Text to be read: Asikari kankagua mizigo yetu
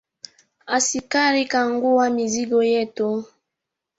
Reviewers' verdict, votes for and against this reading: accepted, 3, 0